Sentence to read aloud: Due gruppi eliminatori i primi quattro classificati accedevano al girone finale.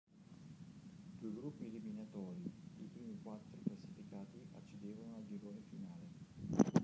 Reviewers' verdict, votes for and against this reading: rejected, 0, 2